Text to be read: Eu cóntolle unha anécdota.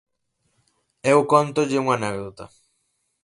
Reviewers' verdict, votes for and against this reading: accepted, 6, 0